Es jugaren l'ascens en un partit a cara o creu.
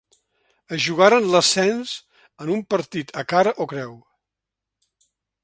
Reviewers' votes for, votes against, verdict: 2, 0, accepted